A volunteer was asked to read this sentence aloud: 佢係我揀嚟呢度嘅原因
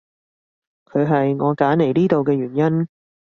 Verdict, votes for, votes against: accepted, 2, 0